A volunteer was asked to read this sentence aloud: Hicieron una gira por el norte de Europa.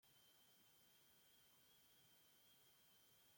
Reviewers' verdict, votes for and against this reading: rejected, 0, 2